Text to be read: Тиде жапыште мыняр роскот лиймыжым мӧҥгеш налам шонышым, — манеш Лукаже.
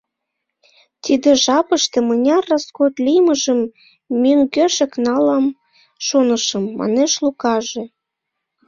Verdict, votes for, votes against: rejected, 1, 2